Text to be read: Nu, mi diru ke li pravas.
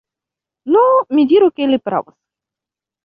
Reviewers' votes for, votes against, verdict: 0, 2, rejected